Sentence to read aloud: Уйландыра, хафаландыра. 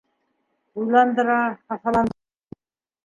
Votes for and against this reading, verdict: 0, 2, rejected